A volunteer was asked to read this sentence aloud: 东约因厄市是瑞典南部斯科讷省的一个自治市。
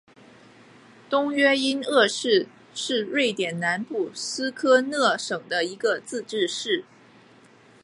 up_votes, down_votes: 4, 0